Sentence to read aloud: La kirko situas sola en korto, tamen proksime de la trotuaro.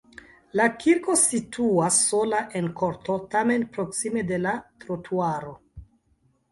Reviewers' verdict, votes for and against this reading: rejected, 0, 2